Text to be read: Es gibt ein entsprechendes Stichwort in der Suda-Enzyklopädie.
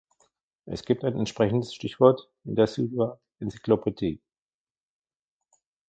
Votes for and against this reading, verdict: 1, 2, rejected